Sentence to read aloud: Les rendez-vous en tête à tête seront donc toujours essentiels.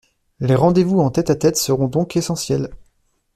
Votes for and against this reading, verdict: 0, 2, rejected